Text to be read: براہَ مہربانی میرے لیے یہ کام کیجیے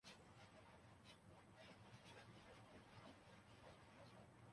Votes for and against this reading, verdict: 1, 3, rejected